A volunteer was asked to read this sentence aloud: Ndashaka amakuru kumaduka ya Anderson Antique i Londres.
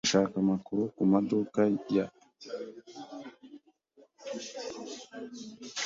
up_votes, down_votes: 1, 2